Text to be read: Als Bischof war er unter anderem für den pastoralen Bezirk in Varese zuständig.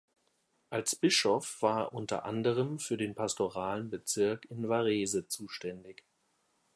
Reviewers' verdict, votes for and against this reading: accepted, 2, 1